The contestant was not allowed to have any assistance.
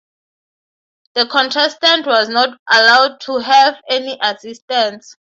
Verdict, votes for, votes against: accepted, 3, 0